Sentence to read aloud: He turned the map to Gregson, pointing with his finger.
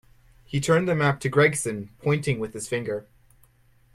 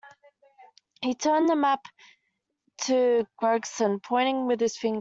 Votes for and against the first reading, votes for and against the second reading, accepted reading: 2, 0, 0, 2, first